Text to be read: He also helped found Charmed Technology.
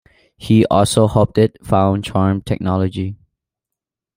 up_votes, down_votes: 0, 2